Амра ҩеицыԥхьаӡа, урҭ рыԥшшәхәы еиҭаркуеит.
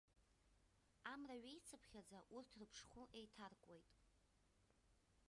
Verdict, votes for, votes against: rejected, 0, 2